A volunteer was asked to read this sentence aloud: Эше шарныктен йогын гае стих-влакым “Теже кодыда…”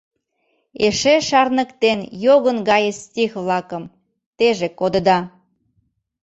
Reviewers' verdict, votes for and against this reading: accepted, 2, 0